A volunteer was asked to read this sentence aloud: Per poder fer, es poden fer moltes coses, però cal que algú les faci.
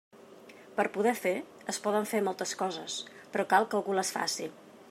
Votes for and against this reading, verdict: 2, 0, accepted